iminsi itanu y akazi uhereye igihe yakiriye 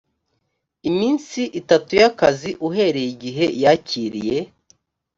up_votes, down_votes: 1, 2